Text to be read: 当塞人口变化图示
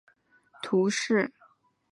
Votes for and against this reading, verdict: 0, 2, rejected